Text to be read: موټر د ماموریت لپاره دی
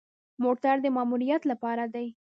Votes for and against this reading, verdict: 0, 2, rejected